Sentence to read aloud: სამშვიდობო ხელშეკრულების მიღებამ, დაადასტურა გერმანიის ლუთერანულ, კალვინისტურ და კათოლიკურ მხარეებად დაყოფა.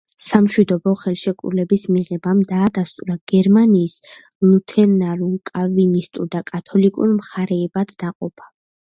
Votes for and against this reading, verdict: 0, 2, rejected